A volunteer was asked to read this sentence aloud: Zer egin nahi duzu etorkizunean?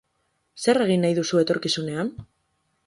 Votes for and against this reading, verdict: 4, 0, accepted